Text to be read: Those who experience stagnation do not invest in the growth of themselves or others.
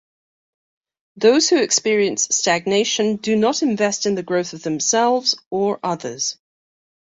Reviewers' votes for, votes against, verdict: 2, 0, accepted